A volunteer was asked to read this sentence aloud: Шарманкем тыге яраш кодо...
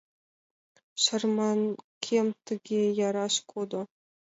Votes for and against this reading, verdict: 2, 0, accepted